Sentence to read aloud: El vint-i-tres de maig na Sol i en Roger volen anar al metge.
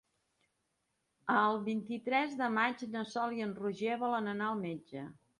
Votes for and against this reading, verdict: 2, 0, accepted